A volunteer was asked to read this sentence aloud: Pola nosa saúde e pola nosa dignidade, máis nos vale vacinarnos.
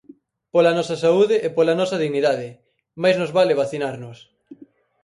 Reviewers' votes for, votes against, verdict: 4, 0, accepted